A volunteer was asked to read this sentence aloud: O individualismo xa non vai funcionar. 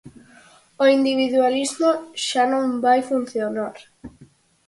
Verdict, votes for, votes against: accepted, 4, 0